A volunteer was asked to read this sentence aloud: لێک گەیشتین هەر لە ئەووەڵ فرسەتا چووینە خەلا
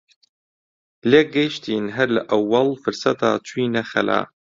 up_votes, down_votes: 2, 0